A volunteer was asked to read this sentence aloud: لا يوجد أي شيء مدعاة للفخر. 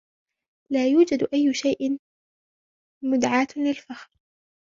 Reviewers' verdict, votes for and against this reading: accepted, 2, 0